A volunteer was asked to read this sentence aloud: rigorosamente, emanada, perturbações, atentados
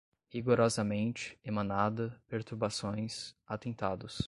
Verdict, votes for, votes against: accepted, 2, 0